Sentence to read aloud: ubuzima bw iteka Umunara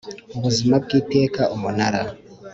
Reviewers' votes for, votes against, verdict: 3, 0, accepted